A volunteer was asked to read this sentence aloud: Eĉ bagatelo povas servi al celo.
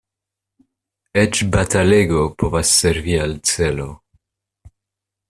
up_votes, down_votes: 1, 2